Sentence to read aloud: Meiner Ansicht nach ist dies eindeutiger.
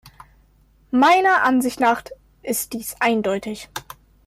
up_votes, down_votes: 0, 2